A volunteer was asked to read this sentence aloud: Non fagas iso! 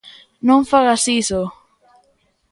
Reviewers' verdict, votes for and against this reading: accepted, 2, 0